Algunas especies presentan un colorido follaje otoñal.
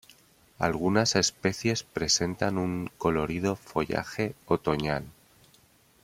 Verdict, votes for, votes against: accepted, 2, 0